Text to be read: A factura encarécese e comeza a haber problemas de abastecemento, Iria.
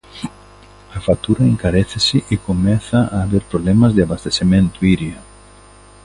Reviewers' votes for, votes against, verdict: 2, 0, accepted